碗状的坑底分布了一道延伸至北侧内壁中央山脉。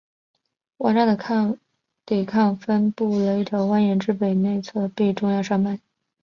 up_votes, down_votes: 0, 5